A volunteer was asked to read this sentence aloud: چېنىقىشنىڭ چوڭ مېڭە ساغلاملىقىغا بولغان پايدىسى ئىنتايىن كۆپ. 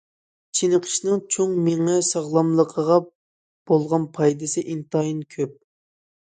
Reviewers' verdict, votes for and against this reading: accepted, 2, 0